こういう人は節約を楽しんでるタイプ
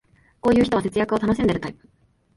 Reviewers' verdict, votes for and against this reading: accepted, 2, 0